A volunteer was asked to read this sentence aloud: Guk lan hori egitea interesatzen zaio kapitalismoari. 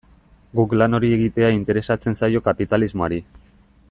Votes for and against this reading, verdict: 2, 0, accepted